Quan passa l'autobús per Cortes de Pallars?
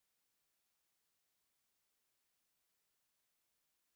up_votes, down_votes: 0, 2